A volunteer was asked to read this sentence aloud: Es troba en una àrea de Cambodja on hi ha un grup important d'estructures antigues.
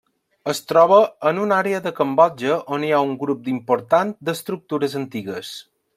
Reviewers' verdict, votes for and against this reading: accepted, 2, 1